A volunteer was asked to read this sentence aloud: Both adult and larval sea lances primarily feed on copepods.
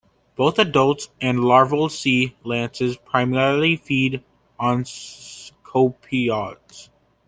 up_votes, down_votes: 0, 2